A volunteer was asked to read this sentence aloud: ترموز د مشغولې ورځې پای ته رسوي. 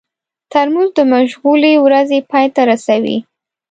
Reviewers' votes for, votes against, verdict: 2, 0, accepted